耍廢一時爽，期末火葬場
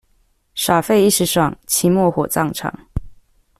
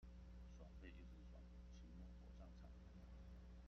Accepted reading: first